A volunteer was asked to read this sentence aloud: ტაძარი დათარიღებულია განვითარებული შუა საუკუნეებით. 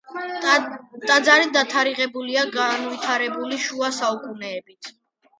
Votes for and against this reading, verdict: 1, 2, rejected